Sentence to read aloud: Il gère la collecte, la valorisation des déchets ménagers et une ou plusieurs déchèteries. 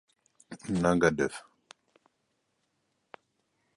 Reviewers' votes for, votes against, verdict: 0, 2, rejected